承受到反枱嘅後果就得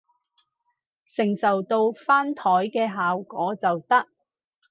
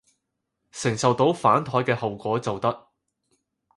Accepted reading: second